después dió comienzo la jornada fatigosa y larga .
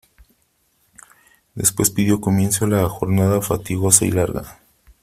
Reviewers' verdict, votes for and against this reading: accepted, 3, 0